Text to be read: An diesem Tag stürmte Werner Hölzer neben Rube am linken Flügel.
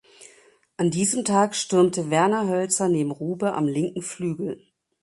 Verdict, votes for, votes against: accepted, 3, 0